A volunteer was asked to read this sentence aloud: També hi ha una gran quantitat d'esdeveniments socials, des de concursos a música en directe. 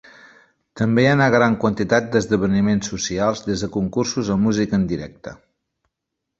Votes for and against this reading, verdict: 0, 2, rejected